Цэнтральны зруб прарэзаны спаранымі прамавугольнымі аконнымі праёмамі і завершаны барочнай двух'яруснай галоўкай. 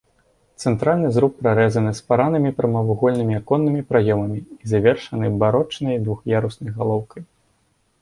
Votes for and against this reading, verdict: 2, 0, accepted